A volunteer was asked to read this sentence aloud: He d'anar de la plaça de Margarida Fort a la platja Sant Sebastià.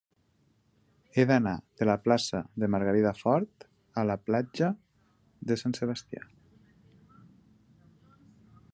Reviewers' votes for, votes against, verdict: 0, 2, rejected